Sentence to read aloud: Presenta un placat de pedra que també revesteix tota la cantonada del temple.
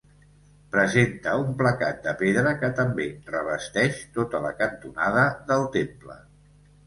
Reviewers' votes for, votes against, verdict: 2, 0, accepted